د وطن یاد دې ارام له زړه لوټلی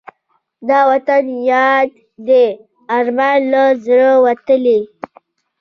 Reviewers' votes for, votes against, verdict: 2, 0, accepted